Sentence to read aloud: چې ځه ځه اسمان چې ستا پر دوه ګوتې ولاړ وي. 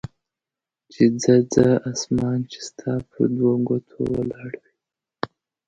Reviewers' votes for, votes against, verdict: 2, 0, accepted